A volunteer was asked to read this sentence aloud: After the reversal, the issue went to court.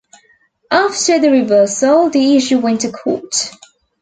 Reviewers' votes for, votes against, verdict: 2, 0, accepted